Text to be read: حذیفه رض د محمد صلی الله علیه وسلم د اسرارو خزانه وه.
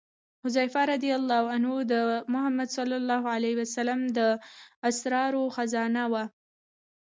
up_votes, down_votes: 0, 2